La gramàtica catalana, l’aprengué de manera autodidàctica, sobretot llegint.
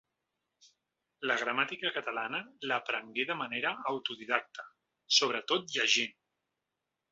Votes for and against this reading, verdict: 2, 0, accepted